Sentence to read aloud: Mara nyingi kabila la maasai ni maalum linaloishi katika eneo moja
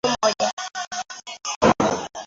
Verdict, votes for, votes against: rejected, 0, 2